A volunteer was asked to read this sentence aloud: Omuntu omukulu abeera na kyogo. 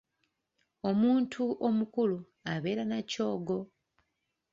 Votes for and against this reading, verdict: 2, 0, accepted